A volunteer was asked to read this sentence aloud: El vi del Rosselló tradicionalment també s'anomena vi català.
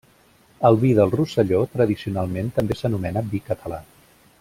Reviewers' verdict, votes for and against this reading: accepted, 3, 0